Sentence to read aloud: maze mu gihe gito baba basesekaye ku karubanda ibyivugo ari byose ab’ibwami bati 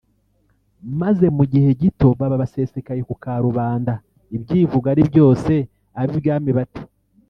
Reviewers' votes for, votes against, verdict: 0, 2, rejected